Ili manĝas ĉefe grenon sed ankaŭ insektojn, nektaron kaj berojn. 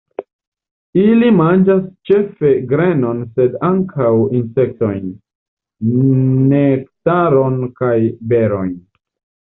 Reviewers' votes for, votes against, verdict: 0, 2, rejected